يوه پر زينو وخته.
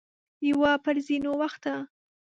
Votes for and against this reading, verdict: 0, 2, rejected